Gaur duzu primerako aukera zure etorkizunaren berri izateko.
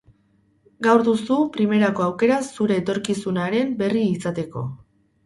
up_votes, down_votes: 0, 2